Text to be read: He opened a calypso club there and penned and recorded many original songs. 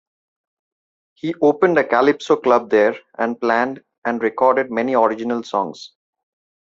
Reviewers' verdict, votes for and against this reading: rejected, 1, 2